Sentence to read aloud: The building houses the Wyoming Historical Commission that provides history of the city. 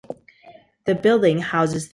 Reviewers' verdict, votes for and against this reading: rejected, 0, 2